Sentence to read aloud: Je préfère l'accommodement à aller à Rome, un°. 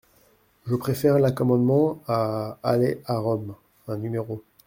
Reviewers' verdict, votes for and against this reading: rejected, 1, 2